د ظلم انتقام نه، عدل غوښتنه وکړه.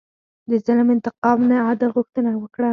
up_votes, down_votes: 4, 0